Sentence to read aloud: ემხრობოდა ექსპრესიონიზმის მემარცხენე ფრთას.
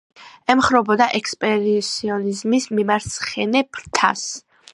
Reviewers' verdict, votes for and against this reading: rejected, 1, 2